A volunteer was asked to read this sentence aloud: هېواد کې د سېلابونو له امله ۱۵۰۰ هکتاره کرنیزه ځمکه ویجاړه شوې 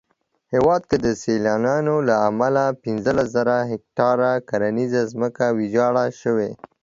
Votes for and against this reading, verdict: 0, 2, rejected